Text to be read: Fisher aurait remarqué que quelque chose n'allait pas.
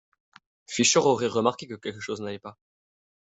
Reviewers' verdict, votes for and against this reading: accepted, 2, 0